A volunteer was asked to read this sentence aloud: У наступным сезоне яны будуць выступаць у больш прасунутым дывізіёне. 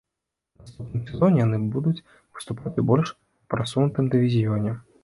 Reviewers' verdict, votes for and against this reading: rejected, 0, 2